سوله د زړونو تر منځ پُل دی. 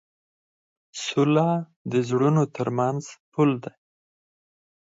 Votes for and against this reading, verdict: 4, 2, accepted